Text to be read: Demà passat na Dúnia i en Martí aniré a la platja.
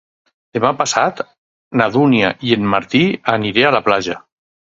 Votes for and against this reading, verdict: 4, 0, accepted